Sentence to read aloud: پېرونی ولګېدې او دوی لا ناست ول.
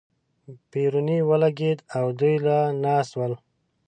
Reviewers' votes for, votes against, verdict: 2, 0, accepted